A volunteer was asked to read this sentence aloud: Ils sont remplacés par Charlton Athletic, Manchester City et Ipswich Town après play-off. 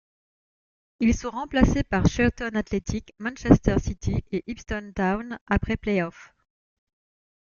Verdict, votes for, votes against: rejected, 1, 2